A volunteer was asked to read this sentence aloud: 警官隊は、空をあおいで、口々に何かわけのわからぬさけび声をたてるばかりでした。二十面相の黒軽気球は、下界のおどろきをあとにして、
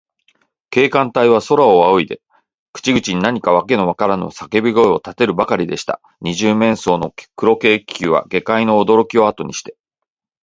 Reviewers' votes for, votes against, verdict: 2, 0, accepted